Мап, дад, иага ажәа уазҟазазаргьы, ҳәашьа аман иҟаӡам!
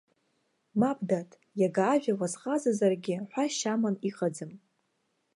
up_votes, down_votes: 2, 0